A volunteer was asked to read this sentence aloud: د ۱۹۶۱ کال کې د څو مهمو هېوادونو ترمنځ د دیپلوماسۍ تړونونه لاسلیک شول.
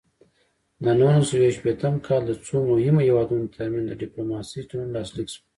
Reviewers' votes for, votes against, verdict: 0, 2, rejected